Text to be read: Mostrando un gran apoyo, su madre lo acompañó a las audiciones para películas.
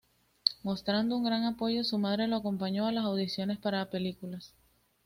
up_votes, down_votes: 2, 0